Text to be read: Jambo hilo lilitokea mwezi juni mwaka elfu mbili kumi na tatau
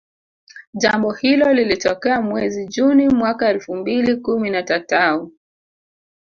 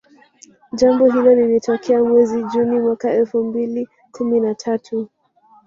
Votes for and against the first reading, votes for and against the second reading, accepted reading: 2, 0, 1, 2, first